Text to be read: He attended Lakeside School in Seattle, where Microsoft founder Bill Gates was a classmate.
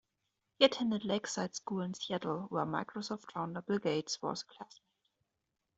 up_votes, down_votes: 0, 2